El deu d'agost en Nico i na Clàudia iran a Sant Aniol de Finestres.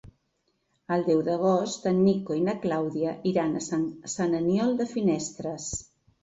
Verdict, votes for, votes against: rejected, 0, 2